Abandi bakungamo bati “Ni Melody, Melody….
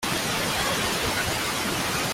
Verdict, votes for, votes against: rejected, 0, 2